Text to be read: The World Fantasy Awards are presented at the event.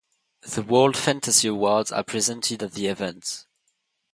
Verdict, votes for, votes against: accepted, 2, 0